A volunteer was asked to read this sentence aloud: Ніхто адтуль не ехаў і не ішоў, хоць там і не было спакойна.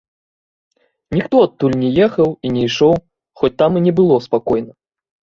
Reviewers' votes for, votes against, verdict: 2, 0, accepted